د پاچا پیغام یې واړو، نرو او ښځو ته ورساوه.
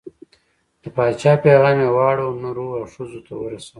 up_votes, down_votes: 1, 2